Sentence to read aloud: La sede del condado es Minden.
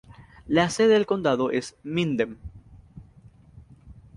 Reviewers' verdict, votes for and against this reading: accepted, 2, 0